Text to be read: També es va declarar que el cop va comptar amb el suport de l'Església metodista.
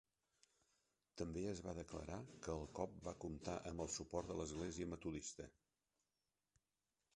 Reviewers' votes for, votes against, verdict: 0, 2, rejected